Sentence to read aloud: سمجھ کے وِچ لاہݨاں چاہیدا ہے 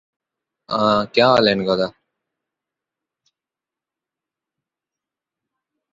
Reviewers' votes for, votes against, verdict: 0, 2, rejected